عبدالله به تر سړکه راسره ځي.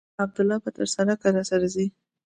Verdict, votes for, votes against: accepted, 2, 0